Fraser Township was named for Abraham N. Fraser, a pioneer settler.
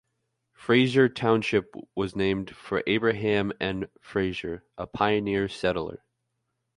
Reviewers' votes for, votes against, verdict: 2, 0, accepted